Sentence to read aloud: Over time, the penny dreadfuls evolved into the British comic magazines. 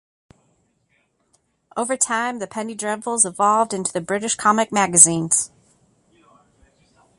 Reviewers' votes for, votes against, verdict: 2, 0, accepted